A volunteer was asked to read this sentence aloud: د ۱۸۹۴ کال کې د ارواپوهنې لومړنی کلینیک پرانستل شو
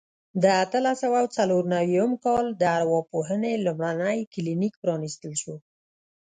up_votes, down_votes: 0, 2